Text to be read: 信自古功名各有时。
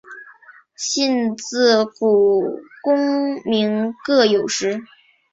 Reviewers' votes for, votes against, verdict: 2, 0, accepted